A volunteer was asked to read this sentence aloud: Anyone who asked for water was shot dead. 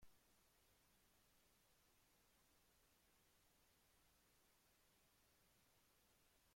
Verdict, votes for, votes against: rejected, 0, 2